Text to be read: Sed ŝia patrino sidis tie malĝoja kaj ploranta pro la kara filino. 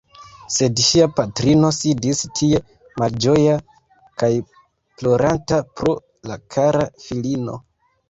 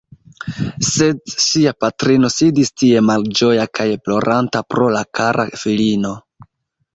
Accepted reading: first